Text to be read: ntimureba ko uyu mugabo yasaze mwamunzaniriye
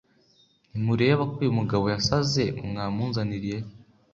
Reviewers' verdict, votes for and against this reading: accepted, 2, 0